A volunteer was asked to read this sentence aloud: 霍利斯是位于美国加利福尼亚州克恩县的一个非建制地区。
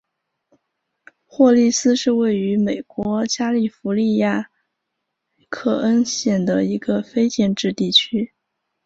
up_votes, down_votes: 0, 2